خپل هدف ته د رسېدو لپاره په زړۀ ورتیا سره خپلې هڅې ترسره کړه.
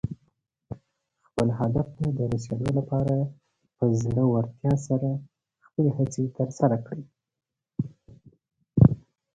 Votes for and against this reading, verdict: 4, 0, accepted